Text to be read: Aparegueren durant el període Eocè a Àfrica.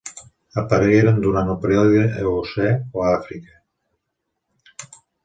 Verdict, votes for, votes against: rejected, 1, 2